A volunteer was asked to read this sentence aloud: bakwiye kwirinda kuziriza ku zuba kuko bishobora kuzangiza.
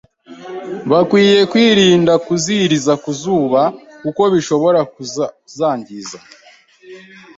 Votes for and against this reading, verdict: 1, 2, rejected